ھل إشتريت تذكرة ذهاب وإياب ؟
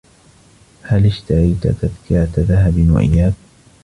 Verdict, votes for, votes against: rejected, 1, 2